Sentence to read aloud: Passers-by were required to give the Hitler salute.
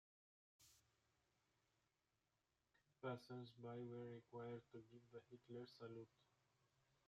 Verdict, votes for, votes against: rejected, 0, 2